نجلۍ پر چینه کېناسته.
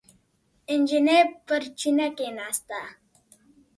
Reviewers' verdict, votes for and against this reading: accepted, 2, 0